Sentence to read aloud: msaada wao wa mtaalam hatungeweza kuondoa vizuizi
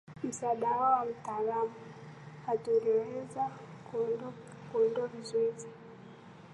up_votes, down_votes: 0, 2